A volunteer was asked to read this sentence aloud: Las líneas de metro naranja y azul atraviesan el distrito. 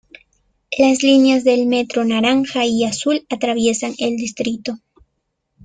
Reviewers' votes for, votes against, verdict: 1, 2, rejected